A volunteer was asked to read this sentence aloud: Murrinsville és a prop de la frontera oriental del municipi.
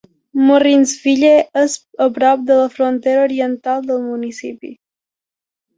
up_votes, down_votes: 2, 0